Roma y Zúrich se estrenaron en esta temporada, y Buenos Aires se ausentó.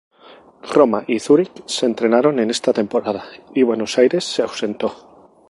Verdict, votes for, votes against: rejected, 0, 2